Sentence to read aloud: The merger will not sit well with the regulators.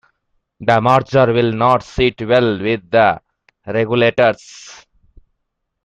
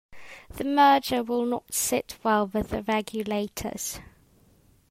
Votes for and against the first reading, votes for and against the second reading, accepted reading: 1, 2, 2, 0, second